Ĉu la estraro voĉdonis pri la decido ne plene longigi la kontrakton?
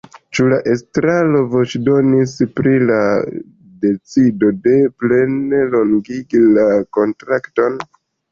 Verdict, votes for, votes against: accepted, 2, 0